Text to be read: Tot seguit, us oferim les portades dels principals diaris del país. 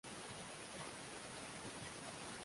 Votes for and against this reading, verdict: 0, 2, rejected